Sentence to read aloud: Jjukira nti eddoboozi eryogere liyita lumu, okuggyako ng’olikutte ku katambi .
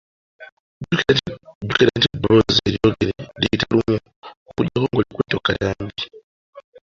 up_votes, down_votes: 2, 0